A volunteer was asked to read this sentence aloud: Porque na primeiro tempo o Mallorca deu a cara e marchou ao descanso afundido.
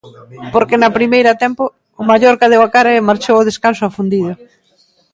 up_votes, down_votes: 0, 2